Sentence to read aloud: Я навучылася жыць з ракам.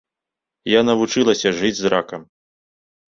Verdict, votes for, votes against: accepted, 2, 0